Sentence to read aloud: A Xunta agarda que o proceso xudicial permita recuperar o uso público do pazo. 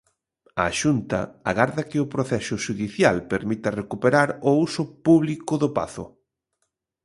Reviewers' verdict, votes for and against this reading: accepted, 2, 0